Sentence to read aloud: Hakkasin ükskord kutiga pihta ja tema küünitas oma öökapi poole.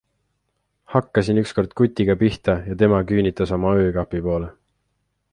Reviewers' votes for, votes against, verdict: 2, 0, accepted